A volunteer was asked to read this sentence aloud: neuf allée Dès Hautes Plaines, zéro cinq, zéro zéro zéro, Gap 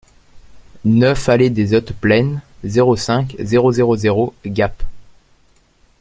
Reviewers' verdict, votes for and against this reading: accepted, 2, 1